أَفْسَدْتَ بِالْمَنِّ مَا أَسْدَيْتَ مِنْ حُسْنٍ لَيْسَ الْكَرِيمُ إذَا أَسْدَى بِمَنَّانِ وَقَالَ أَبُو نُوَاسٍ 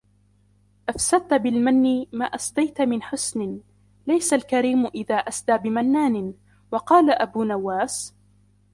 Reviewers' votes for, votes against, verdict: 1, 2, rejected